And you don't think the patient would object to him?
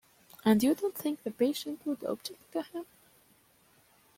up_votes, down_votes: 1, 2